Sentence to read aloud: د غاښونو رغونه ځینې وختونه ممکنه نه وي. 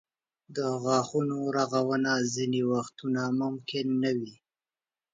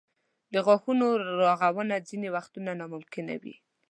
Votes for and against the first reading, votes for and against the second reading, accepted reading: 2, 0, 0, 2, first